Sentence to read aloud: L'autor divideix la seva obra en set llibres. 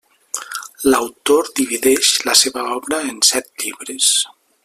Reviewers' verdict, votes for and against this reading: accepted, 4, 0